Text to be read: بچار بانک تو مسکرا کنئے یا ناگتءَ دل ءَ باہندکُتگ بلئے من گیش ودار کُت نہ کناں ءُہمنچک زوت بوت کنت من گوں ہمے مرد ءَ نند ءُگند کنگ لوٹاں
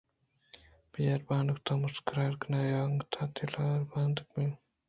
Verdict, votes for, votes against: rejected, 1, 2